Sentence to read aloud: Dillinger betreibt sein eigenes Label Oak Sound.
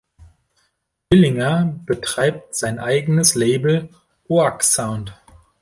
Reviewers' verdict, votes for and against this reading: rejected, 0, 2